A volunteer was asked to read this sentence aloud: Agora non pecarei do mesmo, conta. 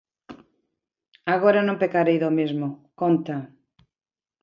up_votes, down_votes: 0, 2